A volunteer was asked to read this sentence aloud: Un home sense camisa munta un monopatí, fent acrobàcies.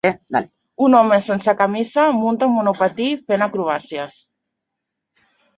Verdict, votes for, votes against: rejected, 0, 2